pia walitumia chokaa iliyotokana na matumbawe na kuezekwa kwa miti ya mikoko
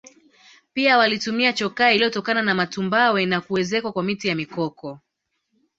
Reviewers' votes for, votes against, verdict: 2, 0, accepted